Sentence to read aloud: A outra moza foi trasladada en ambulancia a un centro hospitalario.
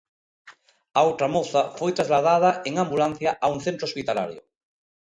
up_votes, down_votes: 2, 0